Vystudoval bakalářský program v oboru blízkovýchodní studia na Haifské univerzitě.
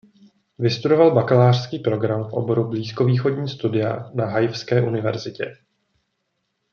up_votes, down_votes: 2, 0